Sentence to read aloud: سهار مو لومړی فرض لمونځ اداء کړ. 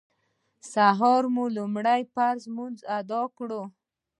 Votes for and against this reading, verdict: 2, 0, accepted